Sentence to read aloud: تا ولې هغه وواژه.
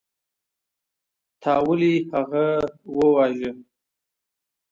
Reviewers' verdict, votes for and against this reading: accepted, 2, 0